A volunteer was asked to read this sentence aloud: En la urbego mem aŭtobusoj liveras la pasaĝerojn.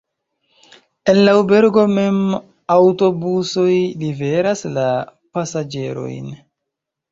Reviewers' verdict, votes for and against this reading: rejected, 0, 2